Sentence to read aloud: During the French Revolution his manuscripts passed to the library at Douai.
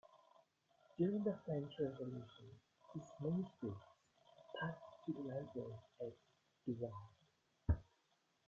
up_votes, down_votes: 0, 2